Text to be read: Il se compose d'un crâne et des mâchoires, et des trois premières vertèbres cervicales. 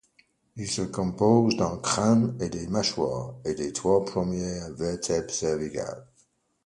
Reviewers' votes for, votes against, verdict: 2, 0, accepted